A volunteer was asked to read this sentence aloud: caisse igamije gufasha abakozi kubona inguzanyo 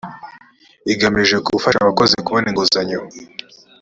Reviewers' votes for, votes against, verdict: 0, 2, rejected